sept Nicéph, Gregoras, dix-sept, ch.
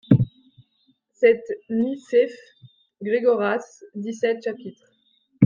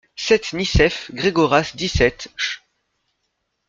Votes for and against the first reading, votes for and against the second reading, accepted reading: 0, 2, 2, 0, second